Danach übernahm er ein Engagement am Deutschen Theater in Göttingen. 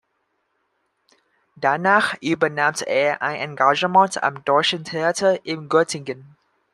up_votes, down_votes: 1, 2